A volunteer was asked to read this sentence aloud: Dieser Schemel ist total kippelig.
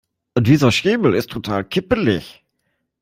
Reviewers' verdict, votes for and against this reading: accepted, 2, 0